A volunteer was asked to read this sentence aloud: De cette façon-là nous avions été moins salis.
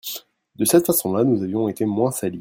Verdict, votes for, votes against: rejected, 1, 2